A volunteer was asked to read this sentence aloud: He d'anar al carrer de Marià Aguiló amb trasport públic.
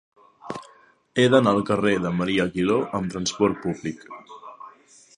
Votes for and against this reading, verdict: 2, 0, accepted